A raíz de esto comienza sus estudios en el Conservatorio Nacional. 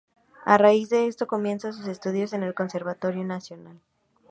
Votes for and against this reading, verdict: 2, 0, accepted